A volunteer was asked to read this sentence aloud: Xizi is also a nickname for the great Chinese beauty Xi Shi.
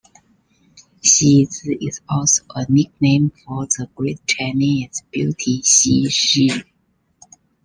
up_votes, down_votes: 2, 0